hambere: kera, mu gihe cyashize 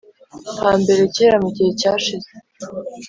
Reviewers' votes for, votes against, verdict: 3, 0, accepted